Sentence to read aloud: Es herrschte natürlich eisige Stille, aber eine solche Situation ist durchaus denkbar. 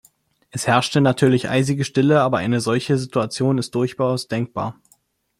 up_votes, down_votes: 0, 2